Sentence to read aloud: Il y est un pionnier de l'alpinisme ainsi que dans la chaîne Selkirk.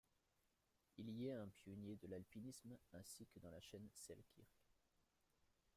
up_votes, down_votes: 0, 2